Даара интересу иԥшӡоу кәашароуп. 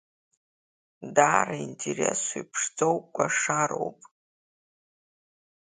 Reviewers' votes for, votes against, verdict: 3, 1, accepted